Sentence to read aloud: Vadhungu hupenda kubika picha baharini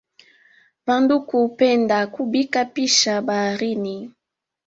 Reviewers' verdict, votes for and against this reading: rejected, 1, 2